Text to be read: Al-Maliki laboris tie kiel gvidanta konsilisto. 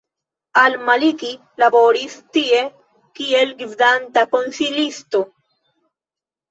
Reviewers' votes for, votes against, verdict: 3, 1, accepted